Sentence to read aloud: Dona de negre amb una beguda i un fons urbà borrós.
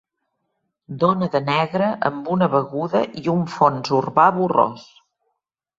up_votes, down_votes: 3, 0